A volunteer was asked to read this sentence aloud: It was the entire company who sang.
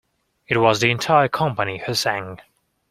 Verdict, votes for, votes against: accepted, 2, 0